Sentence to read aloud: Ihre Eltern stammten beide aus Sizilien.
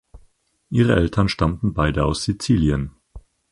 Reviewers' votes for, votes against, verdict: 4, 0, accepted